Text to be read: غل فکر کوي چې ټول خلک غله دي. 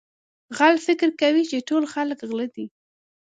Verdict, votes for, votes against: accepted, 2, 0